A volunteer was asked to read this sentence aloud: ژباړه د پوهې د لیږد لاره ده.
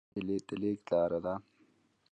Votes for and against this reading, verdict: 0, 2, rejected